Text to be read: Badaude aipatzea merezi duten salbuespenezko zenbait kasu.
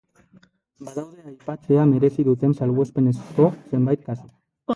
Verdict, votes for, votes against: rejected, 0, 2